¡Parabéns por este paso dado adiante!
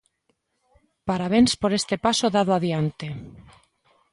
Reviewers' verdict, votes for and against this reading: accepted, 2, 0